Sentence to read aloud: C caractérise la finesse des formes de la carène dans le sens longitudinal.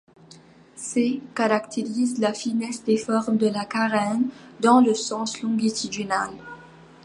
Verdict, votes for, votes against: rejected, 1, 2